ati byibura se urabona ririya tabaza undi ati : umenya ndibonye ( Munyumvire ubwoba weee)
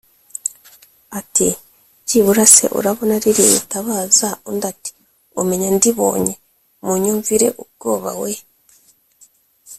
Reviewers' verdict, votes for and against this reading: accepted, 2, 0